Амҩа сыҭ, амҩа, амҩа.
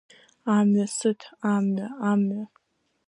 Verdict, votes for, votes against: rejected, 1, 2